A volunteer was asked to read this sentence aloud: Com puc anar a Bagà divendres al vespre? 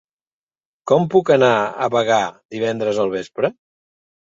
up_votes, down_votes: 2, 0